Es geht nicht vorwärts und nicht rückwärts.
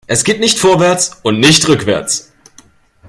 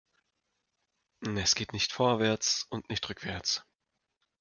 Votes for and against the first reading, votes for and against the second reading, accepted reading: 2, 0, 1, 2, first